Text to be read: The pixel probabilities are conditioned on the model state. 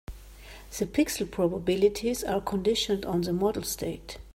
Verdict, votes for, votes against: accepted, 2, 0